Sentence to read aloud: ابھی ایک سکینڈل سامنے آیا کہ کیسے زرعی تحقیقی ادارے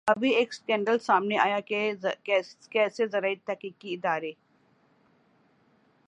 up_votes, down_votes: 6, 4